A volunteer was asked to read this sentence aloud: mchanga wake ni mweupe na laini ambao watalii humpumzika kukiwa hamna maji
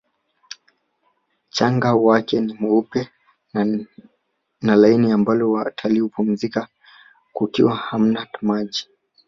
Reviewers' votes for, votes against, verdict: 1, 2, rejected